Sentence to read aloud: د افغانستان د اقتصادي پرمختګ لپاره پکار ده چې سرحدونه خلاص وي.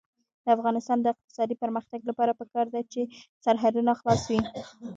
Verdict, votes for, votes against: rejected, 1, 2